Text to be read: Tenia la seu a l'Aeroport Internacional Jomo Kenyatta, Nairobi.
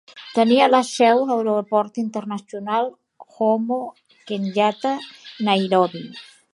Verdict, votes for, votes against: rejected, 0, 2